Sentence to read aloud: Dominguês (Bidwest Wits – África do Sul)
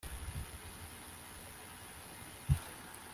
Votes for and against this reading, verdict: 1, 2, rejected